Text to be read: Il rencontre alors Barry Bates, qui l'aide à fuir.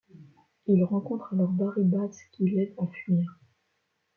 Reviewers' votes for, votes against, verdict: 1, 2, rejected